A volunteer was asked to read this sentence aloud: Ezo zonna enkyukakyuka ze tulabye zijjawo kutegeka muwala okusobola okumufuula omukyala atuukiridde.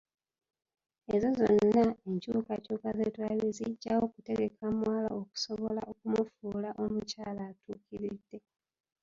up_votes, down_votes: 1, 2